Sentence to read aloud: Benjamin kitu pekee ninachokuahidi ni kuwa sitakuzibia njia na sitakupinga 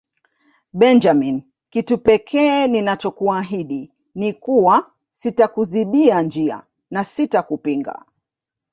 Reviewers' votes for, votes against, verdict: 2, 0, accepted